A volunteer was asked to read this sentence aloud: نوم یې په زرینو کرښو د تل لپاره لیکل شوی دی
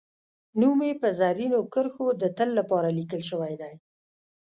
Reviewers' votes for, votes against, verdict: 1, 2, rejected